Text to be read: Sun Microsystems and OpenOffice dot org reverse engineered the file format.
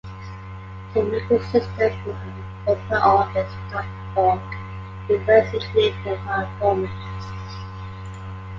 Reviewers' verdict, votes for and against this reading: accepted, 2, 1